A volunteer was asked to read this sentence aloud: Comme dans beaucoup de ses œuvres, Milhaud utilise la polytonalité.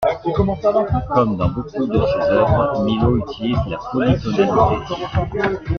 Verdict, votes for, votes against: rejected, 1, 2